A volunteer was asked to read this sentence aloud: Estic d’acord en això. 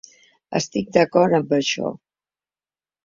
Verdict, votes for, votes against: rejected, 1, 2